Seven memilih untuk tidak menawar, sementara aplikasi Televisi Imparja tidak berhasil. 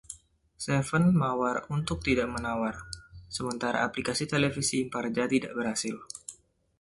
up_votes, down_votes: 0, 2